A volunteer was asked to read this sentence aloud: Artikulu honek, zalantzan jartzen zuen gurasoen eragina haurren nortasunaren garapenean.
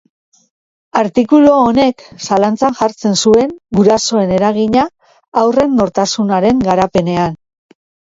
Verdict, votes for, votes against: accepted, 2, 0